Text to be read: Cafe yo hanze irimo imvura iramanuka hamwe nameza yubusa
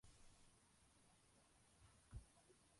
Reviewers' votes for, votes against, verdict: 0, 2, rejected